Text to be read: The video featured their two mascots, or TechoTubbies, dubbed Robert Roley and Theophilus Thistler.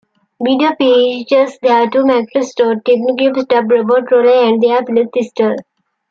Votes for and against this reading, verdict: 0, 2, rejected